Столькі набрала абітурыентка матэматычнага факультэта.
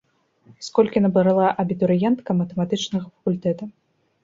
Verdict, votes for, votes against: rejected, 1, 2